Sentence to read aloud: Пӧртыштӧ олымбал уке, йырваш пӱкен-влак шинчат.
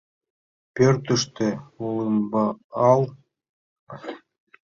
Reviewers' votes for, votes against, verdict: 0, 2, rejected